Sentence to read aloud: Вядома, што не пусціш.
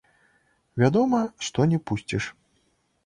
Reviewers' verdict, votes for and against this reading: rejected, 1, 2